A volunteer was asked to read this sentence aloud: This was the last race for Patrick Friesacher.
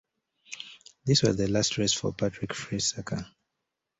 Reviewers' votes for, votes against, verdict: 2, 0, accepted